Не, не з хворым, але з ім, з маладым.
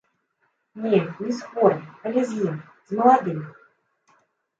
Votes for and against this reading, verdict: 0, 2, rejected